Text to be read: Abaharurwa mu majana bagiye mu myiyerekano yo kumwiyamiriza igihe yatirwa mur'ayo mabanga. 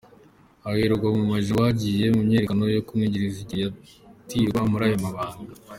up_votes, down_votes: 0, 2